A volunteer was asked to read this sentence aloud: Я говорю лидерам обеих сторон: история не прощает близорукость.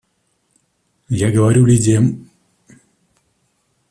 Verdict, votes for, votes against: rejected, 0, 2